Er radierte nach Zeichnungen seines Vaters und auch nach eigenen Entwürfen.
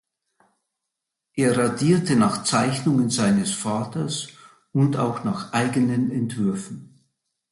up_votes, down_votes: 2, 0